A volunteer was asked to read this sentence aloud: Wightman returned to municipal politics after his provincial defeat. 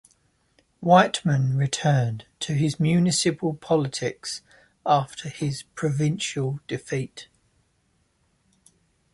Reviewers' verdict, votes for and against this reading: rejected, 0, 2